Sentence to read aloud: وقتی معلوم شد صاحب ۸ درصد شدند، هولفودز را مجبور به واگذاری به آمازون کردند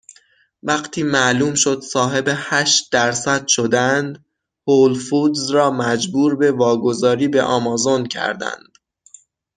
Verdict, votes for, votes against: rejected, 0, 2